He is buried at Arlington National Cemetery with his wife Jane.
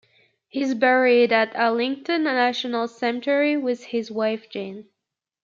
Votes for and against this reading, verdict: 1, 2, rejected